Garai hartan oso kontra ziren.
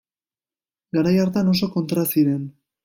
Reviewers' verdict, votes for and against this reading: accepted, 2, 0